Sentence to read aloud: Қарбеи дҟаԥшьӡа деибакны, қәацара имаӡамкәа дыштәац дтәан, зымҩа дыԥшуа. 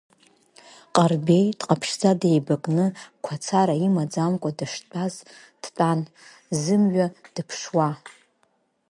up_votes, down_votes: 2, 3